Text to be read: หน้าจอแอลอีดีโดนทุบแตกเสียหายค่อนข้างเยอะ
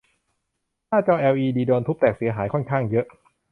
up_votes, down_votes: 2, 0